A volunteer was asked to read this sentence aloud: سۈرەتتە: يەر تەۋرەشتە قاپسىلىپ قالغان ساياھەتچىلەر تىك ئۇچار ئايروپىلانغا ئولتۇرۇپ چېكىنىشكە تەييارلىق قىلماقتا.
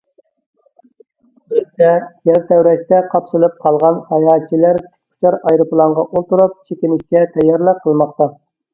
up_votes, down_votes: 0, 2